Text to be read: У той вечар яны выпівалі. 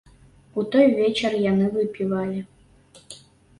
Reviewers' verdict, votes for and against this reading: accepted, 2, 0